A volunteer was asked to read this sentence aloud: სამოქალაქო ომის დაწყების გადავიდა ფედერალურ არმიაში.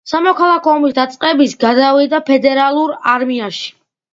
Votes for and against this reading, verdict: 2, 0, accepted